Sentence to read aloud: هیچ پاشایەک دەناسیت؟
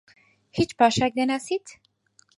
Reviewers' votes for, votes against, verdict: 4, 0, accepted